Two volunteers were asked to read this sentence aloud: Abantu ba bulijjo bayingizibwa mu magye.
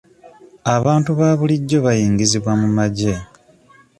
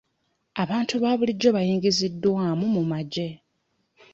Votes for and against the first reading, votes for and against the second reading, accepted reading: 2, 0, 1, 2, first